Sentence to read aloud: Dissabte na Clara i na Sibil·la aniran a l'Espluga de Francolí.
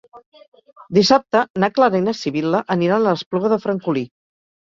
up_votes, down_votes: 2, 0